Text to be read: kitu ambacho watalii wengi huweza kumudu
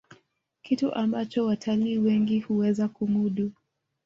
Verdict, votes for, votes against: accepted, 2, 0